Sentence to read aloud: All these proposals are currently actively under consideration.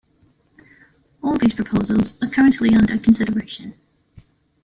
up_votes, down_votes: 1, 2